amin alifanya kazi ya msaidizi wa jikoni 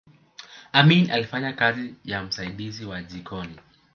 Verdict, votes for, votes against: accepted, 2, 1